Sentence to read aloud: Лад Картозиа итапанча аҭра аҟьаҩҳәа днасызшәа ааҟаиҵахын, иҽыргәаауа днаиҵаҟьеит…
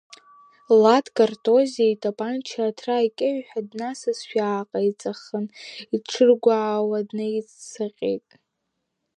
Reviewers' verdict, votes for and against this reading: rejected, 5, 7